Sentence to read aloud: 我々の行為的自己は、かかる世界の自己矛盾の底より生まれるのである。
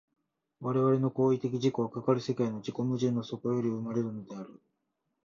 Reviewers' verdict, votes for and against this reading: accepted, 2, 0